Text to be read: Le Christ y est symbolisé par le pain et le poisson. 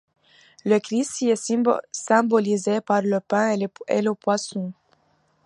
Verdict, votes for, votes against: rejected, 1, 2